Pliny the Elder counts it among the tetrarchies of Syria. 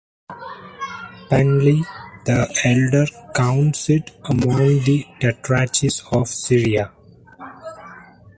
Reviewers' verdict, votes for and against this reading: rejected, 0, 2